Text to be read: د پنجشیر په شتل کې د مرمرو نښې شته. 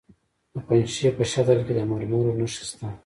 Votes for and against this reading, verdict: 1, 2, rejected